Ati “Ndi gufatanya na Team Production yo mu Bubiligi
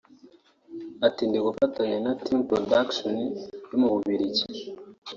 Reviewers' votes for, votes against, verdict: 0, 2, rejected